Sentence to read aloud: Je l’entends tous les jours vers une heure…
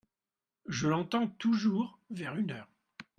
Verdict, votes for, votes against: rejected, 0, 2